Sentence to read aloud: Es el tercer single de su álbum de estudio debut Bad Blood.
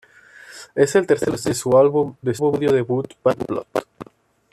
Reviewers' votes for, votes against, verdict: 0, 2, rejected